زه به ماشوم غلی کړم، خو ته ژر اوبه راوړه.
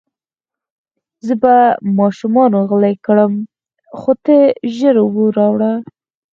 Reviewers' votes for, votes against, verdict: 4, 0, accepted